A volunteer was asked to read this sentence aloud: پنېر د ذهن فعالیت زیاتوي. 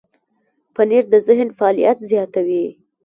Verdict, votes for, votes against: rejected, 0, 3